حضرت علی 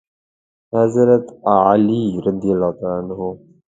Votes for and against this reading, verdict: 1, 2, rejected